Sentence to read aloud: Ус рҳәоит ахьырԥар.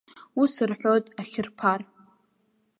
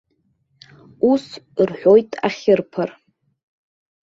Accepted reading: second